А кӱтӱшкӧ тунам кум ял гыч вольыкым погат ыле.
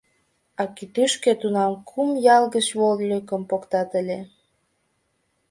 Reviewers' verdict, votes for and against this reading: rejected, 1, 2